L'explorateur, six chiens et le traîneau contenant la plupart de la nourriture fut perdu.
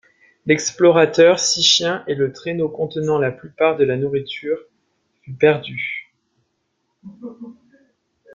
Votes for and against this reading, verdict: 2, 0, accepted